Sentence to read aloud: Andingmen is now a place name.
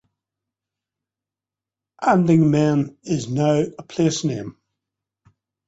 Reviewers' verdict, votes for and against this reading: accepted, 2, 0